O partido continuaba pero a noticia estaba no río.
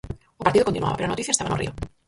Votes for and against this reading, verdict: 0, 4, rejected